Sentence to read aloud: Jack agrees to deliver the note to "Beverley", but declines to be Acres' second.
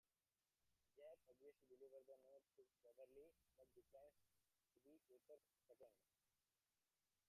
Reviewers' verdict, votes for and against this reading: rejected, 0, 2